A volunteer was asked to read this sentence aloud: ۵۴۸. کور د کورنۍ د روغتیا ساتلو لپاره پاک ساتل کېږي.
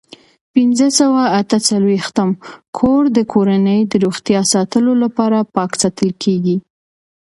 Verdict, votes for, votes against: rejected, 0, 2